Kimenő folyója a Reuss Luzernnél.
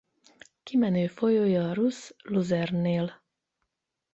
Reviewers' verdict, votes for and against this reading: rejected, 4, 8